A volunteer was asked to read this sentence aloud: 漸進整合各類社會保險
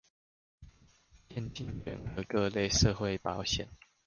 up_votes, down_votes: 2, 0